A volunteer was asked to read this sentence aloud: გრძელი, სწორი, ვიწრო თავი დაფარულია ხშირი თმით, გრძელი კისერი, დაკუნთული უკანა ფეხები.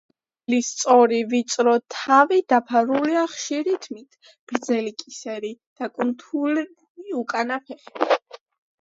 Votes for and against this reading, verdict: 1, 2, rejected